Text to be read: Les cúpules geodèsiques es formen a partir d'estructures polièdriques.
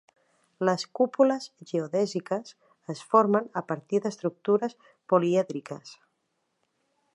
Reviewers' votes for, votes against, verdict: 4, 0, accepted